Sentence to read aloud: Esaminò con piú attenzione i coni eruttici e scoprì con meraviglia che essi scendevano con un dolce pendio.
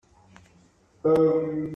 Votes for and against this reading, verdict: 0, 2, rejected